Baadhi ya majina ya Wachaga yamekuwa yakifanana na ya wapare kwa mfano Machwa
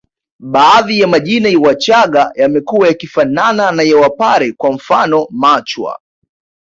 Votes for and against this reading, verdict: 2, 0, accepted